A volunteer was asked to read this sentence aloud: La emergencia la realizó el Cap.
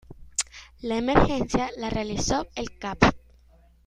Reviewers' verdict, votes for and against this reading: accepted, 2, 1